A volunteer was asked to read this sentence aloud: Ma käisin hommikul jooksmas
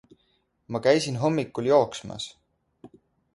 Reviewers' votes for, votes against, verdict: 2, 0, accepted